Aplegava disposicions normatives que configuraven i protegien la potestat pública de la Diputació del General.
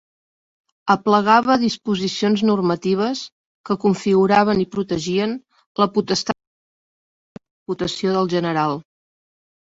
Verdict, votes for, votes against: rejected, 0, 2